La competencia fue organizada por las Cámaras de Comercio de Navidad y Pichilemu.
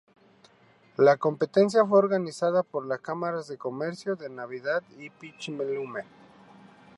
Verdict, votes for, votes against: accepted, 4, 2